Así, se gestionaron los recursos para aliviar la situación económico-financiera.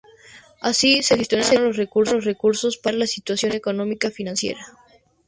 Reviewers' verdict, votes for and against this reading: accepted, 2, 0